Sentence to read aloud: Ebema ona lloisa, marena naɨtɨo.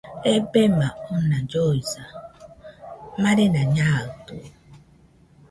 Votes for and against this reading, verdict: 2, 0, accepted